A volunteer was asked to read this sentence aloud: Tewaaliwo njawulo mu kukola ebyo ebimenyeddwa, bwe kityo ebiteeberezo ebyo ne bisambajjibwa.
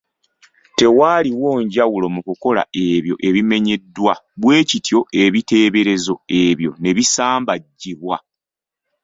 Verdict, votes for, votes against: accepted, 2, 0